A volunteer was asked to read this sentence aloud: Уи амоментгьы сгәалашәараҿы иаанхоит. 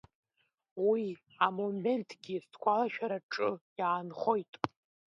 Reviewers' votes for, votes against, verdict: 1, 2, rejected